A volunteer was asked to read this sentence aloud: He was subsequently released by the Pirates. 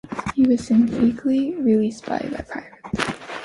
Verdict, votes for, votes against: rejected, 0, 2